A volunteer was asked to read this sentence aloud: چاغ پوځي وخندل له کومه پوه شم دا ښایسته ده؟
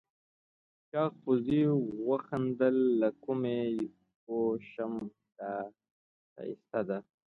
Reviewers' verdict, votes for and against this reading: accepted, 2, 1